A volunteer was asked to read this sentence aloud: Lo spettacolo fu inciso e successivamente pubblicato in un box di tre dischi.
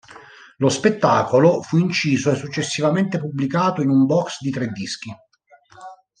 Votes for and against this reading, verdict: 2, 0, accepted